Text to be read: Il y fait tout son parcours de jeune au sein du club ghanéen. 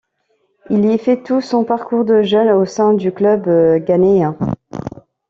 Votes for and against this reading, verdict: 1, 2, rejected